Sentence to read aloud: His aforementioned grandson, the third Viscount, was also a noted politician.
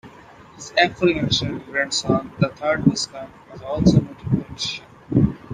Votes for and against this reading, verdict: 0, 2, rejected